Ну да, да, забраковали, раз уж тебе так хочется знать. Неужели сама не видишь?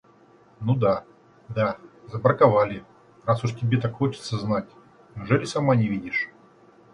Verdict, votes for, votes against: accepted, 2, 0